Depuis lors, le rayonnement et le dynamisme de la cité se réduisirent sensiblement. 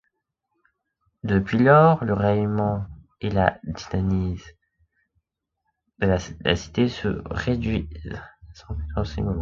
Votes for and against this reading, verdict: 0, 2, rejected